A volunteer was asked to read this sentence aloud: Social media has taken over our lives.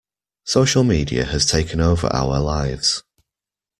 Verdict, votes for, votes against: accepted, 2, 0